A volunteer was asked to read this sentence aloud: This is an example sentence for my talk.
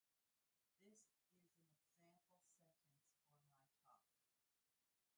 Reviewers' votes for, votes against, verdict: 0, 2, rejected